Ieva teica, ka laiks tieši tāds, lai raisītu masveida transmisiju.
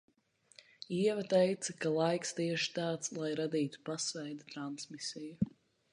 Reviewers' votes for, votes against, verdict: 0, 2, rejected